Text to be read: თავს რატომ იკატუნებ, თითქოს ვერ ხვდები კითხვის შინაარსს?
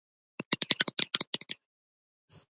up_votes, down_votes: 0, 2